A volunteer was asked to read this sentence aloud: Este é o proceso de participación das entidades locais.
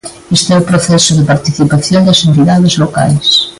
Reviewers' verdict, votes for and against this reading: accepted, 2, 0